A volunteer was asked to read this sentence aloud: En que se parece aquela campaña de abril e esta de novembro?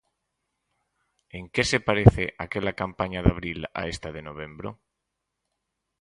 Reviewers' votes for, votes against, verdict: 0, 4, rejected